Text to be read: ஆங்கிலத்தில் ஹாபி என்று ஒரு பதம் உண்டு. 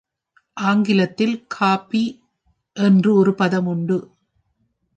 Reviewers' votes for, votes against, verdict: 1, 3, rejected